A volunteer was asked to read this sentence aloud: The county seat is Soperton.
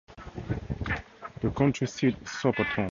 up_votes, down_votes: 4, 2